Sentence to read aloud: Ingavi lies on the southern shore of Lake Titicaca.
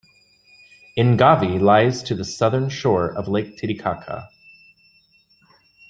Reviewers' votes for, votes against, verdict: 0, 2, rejected